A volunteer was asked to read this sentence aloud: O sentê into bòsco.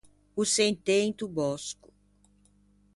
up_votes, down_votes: 2, 0